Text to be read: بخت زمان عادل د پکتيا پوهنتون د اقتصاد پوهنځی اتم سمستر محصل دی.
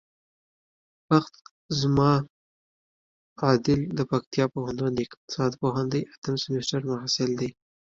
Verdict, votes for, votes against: rejected, 1, 2